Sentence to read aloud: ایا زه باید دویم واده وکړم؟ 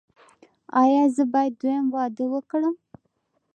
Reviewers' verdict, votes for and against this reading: rejected, 0, 2